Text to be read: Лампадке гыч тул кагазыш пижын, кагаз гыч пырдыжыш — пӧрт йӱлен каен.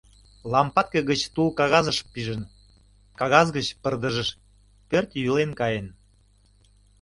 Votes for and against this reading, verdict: 2, 0, accepted